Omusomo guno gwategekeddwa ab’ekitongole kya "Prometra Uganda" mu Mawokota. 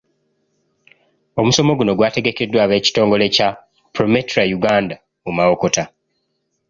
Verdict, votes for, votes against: accepted, 2, 0